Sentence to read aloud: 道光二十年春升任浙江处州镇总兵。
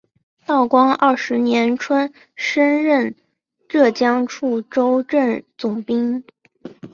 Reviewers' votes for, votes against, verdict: 2, 0, accepted